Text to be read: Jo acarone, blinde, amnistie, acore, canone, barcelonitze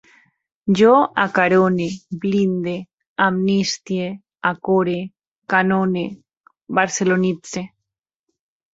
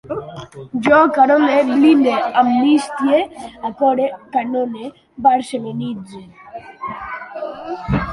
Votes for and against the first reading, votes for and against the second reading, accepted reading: 2, 0, 1, 2, first